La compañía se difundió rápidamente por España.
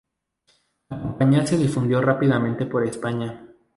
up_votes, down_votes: 0, 2